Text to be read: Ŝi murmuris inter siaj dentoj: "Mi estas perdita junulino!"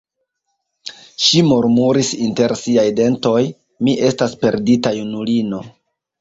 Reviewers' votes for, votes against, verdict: 2, 0, accepted